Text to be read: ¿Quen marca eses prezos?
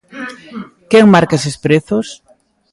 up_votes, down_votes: 2, 0